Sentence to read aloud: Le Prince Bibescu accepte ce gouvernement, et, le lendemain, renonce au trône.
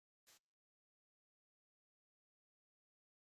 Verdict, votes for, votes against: rejected, 0, 2